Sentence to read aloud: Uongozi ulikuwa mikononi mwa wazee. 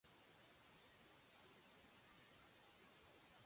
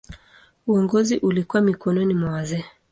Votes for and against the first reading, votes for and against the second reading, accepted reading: 0, 2, 2, 0, second